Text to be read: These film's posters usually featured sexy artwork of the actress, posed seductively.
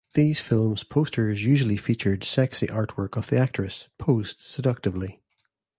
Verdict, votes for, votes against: accepted, 2, 0